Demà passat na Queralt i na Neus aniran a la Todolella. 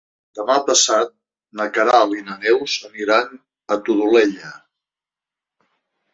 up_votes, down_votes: 0, 2